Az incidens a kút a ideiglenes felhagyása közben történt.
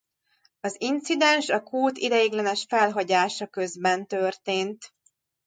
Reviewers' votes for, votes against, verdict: 0, 2, rejected